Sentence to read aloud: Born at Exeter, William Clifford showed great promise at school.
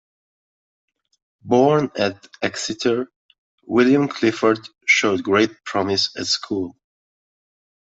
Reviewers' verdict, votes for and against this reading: accepted, 2, 0